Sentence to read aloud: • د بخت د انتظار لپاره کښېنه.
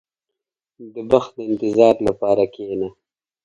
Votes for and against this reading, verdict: 1, 2, rejected